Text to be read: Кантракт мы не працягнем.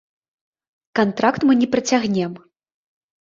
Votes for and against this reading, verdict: 1, 2, rejected